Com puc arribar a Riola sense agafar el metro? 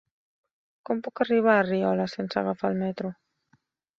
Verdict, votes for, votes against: accepted, 3, 0